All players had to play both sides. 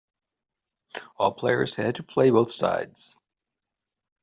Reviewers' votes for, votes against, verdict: 3, 0, accepted